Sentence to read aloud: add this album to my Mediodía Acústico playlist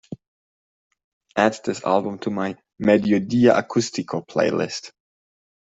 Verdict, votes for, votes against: accepted, 2, 0